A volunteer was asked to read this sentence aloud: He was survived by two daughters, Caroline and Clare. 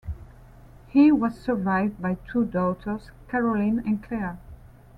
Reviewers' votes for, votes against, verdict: 2, 0, accepted